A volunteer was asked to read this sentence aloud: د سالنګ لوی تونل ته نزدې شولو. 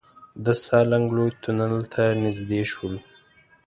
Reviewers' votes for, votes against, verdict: 1, 2, rejected